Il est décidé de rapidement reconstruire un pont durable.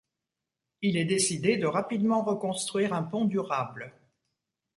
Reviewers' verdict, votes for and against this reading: accepted, 2, 0